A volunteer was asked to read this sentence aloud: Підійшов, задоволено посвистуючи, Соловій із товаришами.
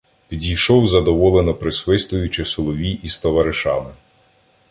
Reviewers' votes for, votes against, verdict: 0, 2, rejected